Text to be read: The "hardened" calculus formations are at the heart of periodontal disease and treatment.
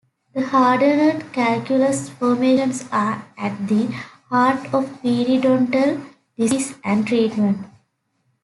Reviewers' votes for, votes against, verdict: 1, 2, rejected